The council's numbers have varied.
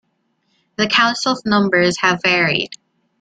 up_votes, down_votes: 2, 0